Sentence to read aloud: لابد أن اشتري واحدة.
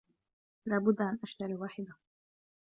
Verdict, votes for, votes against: rejected, 1, 2